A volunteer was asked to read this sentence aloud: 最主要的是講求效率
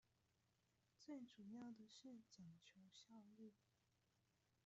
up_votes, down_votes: 0, 2